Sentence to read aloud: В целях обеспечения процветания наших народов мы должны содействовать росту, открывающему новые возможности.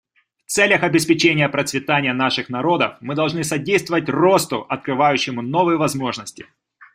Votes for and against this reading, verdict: 2, 0, accepted